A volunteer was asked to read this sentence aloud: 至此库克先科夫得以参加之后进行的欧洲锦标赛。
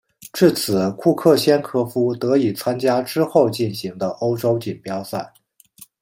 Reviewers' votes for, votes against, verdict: 2, 0, accepted